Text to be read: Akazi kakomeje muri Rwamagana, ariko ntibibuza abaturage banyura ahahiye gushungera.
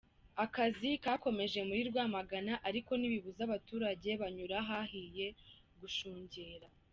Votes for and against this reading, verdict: 2, 0, accepted